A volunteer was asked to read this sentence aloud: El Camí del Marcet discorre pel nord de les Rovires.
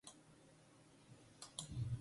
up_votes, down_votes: 0, 3